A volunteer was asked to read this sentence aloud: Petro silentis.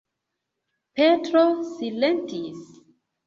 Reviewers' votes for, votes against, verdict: 2, 1, accepted